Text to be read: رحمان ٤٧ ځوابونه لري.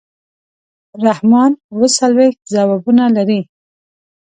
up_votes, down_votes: 0, 2